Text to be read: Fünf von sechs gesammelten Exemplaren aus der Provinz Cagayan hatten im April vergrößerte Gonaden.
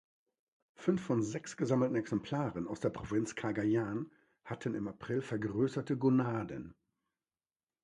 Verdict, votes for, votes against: accepted, 2, 0